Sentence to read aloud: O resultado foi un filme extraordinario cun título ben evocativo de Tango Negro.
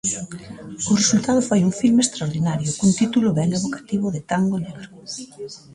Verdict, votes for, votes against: rejected, 1, 2